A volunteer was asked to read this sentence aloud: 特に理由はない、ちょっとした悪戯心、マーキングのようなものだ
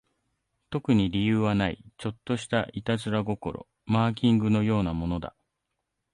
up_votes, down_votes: 2, 0